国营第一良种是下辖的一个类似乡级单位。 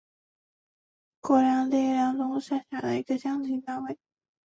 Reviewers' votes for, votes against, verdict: 0, 2, rejected